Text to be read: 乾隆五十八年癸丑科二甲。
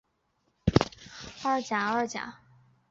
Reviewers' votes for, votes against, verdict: 2, 4, rejected